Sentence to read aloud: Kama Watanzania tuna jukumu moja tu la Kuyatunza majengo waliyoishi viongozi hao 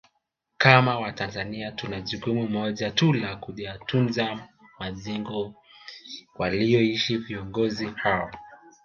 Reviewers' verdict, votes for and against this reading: rejected, 1, 2